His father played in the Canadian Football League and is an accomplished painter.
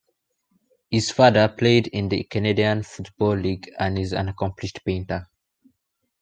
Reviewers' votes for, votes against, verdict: 2, 0, accepted